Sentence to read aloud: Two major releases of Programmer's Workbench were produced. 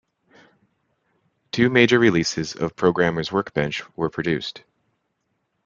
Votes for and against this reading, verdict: 2, 1, accepted